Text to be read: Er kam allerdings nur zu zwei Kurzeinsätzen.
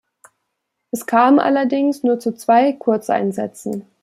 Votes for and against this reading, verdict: 0, 2, rejected